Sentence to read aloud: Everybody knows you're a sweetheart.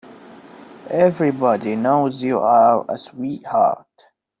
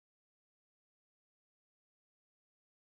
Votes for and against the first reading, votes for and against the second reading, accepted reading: 2, 0, 0, 2, first